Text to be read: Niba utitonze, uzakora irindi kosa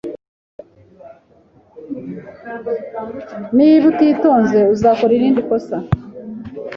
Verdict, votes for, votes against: accepted, 2, 0